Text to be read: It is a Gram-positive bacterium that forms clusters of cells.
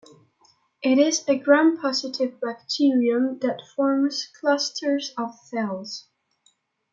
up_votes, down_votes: 2, 0